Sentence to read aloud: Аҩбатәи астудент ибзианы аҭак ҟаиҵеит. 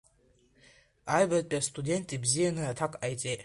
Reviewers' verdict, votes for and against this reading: accepted, 2, 0